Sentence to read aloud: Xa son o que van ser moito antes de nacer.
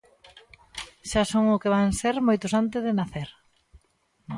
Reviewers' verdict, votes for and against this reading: rejected, 0, 3